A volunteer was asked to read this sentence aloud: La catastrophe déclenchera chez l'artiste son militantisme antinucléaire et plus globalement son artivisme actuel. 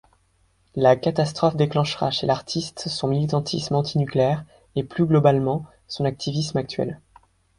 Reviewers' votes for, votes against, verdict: 2, 0, accepted